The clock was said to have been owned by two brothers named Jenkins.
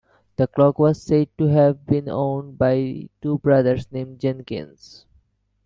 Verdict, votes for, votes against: accepted, 2, 1